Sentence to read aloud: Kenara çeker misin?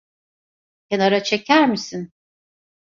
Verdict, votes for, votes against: accepted, 2, 0